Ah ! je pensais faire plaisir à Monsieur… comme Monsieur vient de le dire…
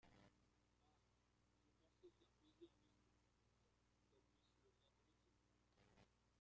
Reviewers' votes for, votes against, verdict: 0, 2, rejected